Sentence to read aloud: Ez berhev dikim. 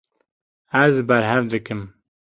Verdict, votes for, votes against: rejected, 1, 2